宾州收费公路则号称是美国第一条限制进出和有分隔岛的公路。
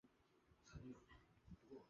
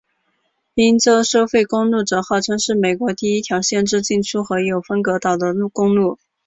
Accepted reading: second